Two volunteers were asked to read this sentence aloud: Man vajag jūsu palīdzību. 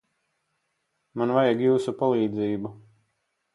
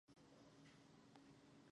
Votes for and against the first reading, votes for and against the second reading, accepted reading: 4, 0, 0, 4, first